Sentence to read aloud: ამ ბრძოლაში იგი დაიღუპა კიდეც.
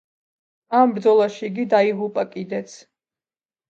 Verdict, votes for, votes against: accepted, 2, 0